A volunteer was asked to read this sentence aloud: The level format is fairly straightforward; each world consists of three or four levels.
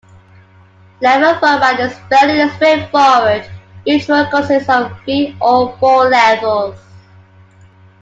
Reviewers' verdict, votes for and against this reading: rejected, 1, 2